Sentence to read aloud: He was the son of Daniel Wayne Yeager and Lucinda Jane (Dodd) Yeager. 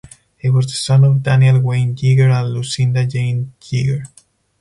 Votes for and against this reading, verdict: 0, 4, rejected